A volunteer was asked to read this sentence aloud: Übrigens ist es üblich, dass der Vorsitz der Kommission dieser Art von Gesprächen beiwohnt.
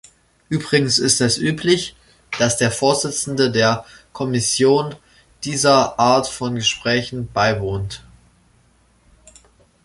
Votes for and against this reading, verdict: 0, 2, rejected